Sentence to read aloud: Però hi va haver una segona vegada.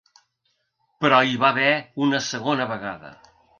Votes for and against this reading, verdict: 3, 0, accepted